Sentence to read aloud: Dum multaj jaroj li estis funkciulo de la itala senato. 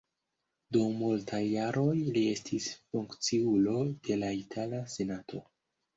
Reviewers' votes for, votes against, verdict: 0, 2, rejected